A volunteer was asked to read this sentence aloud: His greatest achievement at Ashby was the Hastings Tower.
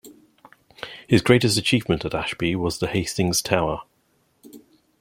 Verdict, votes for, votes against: rejected, 1, 2